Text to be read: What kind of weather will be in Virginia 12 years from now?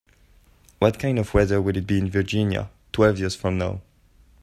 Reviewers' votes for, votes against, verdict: 0, 2, rejected